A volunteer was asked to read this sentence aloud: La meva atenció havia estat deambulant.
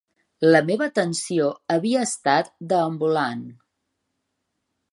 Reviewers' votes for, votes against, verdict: 2, 0, accepted